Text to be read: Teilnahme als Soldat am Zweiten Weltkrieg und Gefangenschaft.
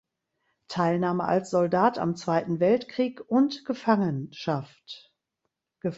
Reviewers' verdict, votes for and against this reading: rejected, 1, 2